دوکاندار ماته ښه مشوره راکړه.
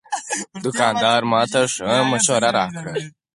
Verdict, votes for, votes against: rejected, 4, 6